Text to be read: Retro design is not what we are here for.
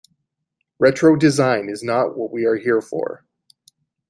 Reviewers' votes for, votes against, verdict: 2, 0, accepted